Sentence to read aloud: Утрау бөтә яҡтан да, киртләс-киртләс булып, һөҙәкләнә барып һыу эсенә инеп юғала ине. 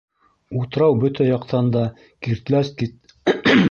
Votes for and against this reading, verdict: 0, 3, rejected